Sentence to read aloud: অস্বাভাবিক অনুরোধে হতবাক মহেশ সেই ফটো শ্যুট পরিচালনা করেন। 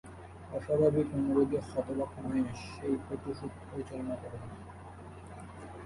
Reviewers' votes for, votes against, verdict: 1, 2, rejected